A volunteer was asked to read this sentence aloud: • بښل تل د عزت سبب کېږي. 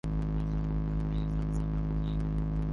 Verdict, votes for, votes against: rejected, 0, 4